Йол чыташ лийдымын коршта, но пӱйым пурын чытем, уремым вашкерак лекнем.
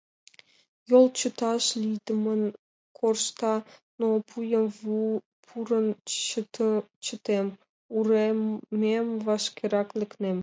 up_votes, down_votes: 0, 2